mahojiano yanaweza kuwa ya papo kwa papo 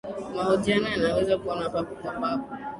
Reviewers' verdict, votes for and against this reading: accepted, 5, 4